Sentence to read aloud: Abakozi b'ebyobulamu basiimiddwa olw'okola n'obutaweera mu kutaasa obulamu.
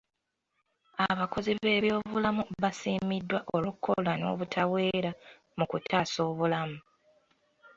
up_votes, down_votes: 2, 0